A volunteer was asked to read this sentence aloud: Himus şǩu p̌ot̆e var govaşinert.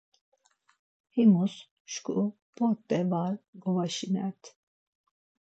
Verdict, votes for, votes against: accepted, 4, 0